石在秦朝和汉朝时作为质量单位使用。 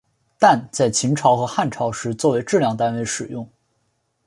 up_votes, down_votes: 2, 3